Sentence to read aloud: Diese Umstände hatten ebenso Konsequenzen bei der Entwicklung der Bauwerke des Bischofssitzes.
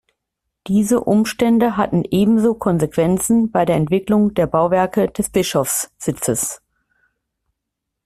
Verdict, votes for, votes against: accepted, 2, 0